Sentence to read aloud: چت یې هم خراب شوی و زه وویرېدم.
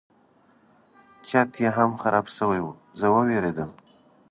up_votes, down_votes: 2, 0